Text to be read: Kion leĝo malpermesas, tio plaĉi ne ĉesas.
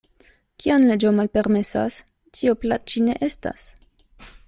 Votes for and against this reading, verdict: 0, 2, rejected